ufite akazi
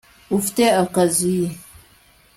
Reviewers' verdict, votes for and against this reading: accepted, 2, 0